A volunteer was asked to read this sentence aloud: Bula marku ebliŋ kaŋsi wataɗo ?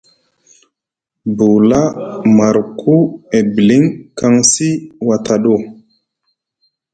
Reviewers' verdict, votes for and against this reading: accepted, 2, 0